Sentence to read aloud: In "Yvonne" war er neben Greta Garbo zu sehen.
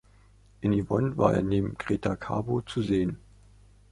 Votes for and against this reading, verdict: 2, 0, accepted